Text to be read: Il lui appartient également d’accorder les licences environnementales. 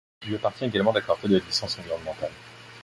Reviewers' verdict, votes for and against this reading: rejected, 1, 2